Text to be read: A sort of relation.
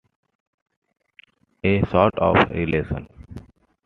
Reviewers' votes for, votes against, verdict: 2, 1, accepted